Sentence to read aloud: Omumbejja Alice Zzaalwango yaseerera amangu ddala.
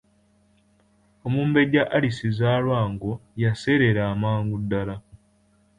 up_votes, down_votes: 2, 0